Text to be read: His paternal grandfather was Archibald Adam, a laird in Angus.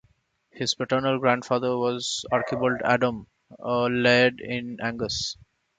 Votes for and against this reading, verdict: 2, 0, accepted